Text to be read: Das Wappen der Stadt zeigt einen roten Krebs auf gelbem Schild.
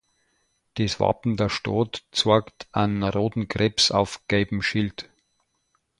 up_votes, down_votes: 0, 2